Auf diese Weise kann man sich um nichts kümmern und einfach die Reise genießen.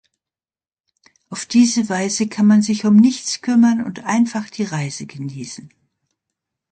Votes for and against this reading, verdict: 2, 0, accepted